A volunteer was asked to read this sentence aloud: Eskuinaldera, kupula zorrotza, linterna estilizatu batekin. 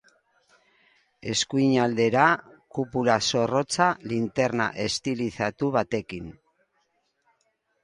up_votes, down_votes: 2, 0